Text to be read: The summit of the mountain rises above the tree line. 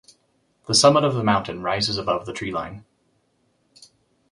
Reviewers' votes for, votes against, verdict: 2, 0, accepted